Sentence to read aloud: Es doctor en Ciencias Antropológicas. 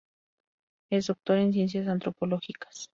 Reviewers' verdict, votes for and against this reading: accepted, 2, 0